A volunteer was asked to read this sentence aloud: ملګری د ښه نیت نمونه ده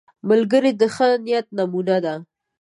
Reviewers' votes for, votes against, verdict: 1, 2, rejected